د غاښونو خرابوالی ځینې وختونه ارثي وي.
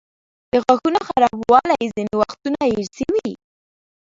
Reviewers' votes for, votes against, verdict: 0, 2, rejected